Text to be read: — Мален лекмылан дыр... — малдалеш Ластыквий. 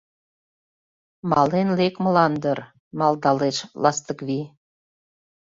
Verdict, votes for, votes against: accepted, 2, 0